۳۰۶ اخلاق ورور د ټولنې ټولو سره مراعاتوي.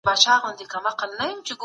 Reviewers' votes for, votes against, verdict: 0, 2, rejected